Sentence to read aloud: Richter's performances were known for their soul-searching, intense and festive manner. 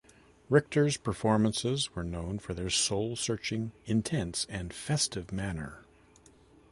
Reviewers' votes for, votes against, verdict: 2, 0, accepted